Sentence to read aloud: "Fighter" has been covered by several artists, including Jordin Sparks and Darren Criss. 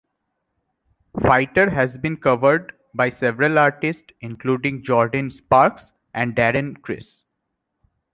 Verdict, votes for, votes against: accepted, 3, 0